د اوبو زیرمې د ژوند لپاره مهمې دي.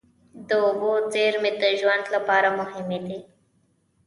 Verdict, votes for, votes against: rejected, 0, 2